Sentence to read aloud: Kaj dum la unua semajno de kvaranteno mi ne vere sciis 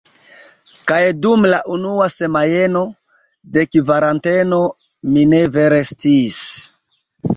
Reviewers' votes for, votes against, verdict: 0, 2, rejected